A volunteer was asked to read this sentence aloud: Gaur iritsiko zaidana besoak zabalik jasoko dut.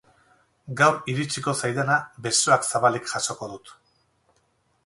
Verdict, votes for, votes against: rejected, 2, 2